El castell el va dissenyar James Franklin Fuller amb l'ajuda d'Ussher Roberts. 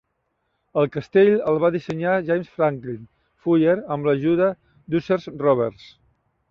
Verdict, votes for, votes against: rejected, 0, 2